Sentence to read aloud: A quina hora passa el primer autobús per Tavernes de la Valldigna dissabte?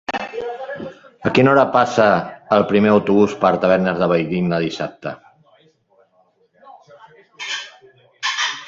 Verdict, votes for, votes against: rejected, 1, 2